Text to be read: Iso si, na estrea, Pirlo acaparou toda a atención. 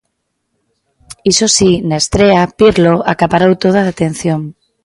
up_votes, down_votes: 2, 1